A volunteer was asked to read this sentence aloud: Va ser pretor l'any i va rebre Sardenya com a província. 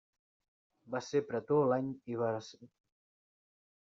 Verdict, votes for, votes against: rejected, 1, 2